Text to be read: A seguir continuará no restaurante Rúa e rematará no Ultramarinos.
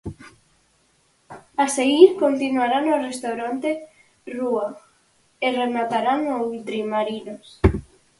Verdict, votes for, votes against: rejected, 0, 4